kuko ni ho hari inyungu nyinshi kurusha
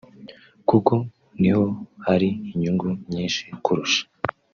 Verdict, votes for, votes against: rejected, 1, 2